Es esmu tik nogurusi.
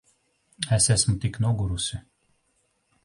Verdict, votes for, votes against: rejected, 1, 2